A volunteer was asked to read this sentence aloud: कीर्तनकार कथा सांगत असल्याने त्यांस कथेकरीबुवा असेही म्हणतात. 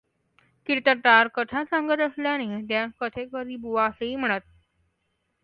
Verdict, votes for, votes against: rejected, 1, 2